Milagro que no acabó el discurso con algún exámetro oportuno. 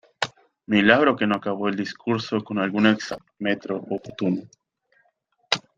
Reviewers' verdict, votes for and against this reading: rejected, 1, 2